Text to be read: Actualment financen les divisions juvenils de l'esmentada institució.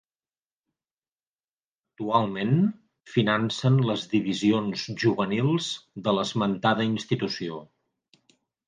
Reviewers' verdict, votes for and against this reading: rejected, 2, 3